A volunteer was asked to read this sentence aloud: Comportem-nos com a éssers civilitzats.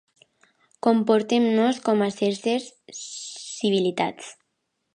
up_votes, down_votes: 0, 2